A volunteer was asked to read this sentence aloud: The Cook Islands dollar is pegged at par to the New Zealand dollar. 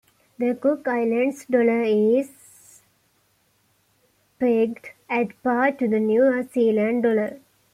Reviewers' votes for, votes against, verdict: 2, 1, accepted